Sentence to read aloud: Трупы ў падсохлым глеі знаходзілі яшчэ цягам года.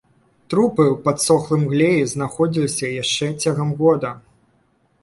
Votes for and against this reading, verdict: 1, 2, rejected